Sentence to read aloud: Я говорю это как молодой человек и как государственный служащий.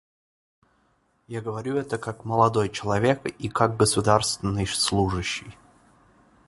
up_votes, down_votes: 1, 2